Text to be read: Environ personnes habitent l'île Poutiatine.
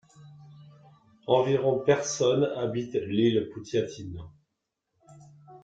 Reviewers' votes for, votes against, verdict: 2, 0, accepted